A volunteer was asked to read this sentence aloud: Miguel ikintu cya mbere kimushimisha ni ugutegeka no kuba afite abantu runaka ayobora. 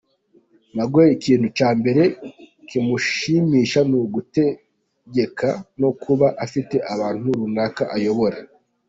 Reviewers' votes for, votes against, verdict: 2, 1, accepted